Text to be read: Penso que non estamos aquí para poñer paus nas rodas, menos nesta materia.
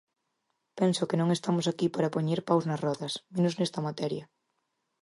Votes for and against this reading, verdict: 4, 0, accepted